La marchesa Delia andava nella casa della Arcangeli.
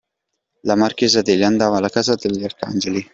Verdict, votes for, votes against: accepted, 2, 1